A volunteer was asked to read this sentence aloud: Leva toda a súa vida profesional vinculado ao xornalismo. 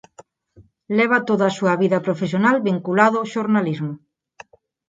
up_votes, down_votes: 4, 0